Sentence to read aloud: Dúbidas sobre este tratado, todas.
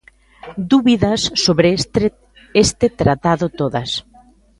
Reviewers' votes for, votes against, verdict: 0, 2, rejected